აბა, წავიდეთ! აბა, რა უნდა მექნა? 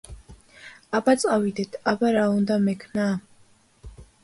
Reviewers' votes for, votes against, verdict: 2, 0, accepted